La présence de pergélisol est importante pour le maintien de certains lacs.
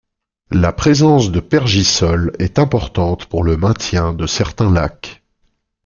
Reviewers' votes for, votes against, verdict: 0, 2, rejected